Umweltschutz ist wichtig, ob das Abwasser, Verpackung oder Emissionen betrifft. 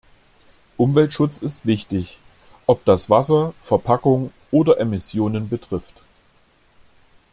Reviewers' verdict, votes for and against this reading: rejected, 0, 2